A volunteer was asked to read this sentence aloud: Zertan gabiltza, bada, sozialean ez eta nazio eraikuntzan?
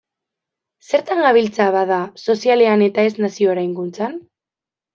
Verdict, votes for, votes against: accepted, 2, 1